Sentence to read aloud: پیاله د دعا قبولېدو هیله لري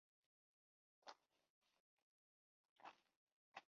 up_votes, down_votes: 1, 2